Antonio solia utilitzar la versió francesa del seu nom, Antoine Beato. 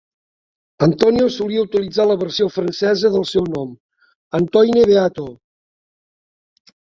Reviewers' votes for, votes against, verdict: 1, 2, rejected